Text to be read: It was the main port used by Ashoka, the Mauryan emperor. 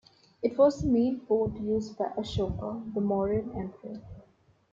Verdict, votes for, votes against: accepted, 2, 1